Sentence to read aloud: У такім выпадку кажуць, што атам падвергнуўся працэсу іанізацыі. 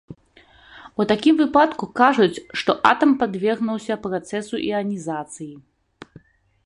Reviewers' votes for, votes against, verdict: 3, 1, accepted